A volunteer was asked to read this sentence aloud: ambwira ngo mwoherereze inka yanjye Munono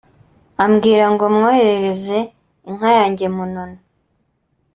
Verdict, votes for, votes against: accepted, 2, 0